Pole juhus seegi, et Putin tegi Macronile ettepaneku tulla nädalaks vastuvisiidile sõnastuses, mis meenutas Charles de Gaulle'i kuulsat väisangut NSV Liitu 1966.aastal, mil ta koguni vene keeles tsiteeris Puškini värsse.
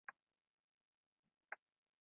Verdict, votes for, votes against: rejected, 0, 2